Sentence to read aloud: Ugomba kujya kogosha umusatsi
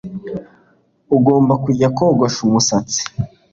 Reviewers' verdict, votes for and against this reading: accepted, 2, 0